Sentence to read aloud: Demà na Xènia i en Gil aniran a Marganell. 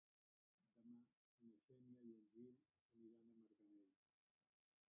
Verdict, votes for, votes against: rejected, 0, 2